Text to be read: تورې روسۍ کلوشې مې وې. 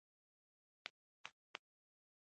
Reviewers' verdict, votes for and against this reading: rejected, 1, 2